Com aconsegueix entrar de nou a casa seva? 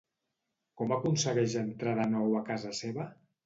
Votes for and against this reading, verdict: 2, 0, accepted